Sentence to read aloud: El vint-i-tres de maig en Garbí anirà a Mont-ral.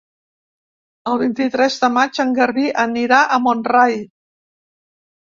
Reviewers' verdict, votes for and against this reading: rejected, 2, 3